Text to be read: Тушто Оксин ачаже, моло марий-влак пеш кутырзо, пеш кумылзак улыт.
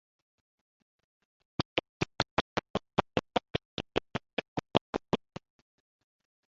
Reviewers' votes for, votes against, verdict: 0, 2, rejected